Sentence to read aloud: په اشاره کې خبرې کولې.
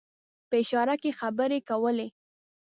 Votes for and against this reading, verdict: 2, 0, accepted